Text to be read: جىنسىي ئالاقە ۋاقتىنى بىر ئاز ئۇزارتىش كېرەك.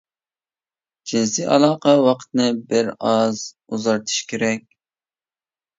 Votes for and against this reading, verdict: 0, 2, rejected